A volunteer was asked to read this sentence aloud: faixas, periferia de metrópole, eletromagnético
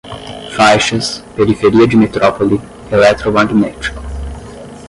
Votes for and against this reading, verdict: 5, 5, rejected